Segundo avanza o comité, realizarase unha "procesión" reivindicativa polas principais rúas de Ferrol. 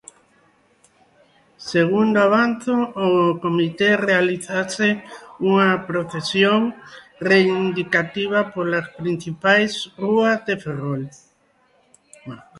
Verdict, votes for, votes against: rejected, 0, 2